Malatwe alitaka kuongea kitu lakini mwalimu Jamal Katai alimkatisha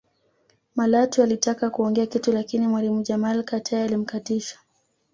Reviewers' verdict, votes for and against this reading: accepted, 2, 0